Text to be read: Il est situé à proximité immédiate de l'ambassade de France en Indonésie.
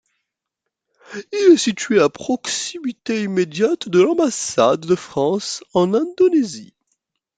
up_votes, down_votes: 2, 1